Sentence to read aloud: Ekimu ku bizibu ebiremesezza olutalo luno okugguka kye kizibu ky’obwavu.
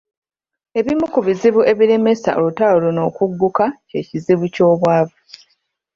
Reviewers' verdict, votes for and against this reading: rejected, 0, 2